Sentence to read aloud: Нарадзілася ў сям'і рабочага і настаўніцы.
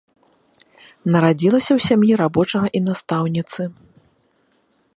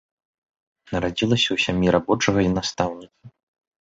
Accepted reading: first